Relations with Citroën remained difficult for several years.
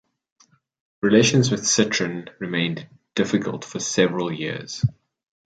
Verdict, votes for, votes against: accepted, 2, 0